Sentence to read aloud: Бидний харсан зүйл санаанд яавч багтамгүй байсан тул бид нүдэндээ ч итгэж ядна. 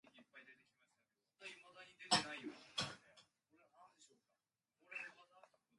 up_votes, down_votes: 0, 2